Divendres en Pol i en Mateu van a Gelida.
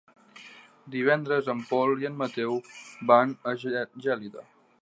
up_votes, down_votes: 1, 2